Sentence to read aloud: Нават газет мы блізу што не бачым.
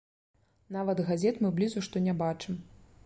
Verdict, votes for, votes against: accepted, 2, 0